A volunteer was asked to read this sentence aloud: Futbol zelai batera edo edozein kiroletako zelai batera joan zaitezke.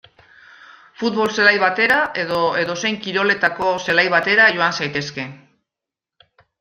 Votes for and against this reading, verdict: 2, 0, accepted